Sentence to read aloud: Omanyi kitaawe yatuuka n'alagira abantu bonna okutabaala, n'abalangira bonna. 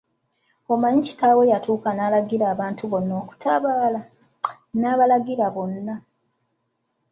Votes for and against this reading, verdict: 0, 2, rejected